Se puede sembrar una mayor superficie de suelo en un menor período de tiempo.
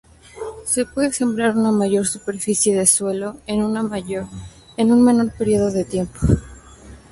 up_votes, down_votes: 0, 2